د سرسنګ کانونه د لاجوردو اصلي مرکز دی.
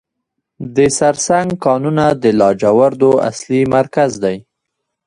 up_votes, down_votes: 2, 1